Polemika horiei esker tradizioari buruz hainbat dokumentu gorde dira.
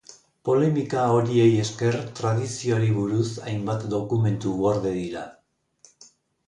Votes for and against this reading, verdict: 2, 0, accepted